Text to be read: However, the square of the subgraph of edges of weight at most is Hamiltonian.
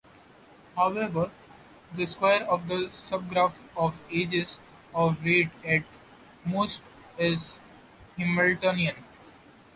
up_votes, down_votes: 2, 0